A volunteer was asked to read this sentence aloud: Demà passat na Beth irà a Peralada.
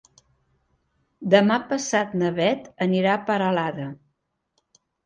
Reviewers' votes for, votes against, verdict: 1, 3, rejected